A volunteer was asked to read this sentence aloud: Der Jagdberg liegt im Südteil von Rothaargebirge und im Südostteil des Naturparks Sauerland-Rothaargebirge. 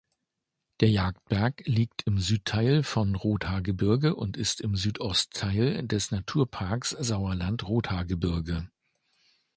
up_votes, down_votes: 1, 2